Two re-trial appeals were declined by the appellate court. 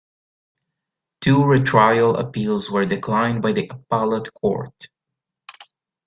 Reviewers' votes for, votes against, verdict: 0, 2, rejected